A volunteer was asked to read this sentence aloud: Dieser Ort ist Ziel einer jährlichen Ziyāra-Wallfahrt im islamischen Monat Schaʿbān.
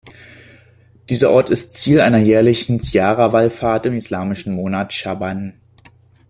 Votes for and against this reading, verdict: 2, 0, accepted